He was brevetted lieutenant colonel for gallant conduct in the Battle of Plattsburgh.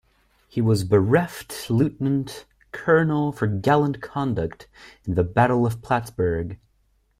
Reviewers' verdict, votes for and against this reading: rejected, 0, 2